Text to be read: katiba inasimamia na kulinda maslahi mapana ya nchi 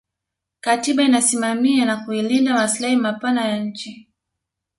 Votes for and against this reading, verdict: 2, 0, accepted